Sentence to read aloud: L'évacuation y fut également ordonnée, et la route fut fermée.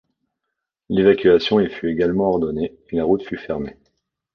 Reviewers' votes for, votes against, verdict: 2, 0, accepted